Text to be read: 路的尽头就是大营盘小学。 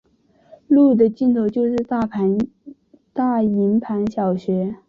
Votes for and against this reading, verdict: 2, 1, accepted